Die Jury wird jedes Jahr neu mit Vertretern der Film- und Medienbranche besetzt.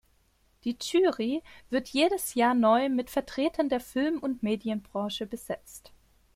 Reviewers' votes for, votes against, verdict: 2, 0, accepted